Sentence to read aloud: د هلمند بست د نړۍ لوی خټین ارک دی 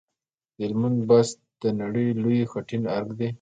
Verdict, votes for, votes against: accepted, 2, 0